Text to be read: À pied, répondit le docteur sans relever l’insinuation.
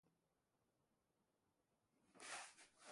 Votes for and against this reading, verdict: 0, 2, rejected